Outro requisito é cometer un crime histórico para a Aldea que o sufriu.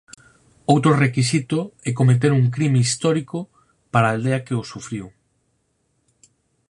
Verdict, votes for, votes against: accepted, 4, 0